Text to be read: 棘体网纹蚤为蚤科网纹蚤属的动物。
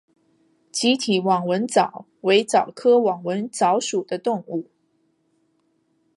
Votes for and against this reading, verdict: 2, 1, accepted